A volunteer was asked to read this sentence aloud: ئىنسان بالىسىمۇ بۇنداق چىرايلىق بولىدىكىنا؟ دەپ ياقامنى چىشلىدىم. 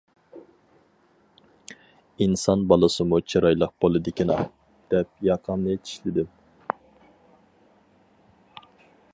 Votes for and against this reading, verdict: 0, 4, rejected